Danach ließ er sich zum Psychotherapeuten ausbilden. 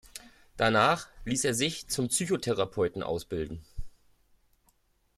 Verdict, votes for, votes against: accepted, 2, 0